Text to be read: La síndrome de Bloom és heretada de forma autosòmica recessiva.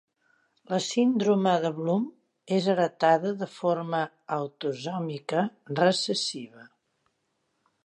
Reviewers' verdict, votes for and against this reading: accepted, 2, 0